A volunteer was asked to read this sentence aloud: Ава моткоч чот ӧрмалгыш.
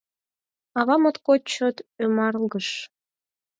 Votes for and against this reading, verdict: 2, 4, rejected